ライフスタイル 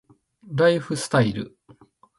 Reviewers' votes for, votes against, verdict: 2, 0, accepted